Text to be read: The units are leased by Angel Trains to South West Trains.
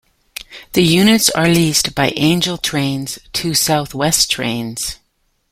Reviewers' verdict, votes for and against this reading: accepted, 2, 0